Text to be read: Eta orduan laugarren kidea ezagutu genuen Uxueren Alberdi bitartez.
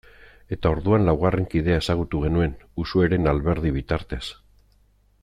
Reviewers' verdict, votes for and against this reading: accepted, 2, 0